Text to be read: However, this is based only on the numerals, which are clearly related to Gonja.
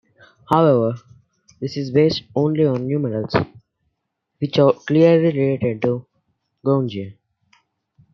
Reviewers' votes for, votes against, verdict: 0, 2, rejected